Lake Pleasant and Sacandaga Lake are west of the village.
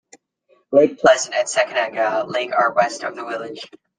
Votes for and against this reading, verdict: 1, 2, rejected